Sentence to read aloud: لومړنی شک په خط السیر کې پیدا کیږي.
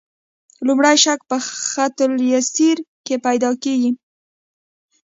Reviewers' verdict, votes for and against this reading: rejected, 1, 3